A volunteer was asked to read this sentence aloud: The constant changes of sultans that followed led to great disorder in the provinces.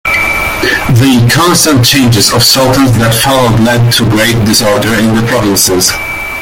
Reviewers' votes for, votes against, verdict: 2, 1, accepted